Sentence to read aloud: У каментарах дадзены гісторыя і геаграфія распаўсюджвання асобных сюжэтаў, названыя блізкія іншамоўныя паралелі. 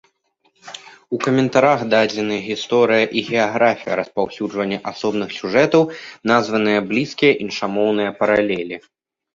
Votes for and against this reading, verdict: 1, 2, rejected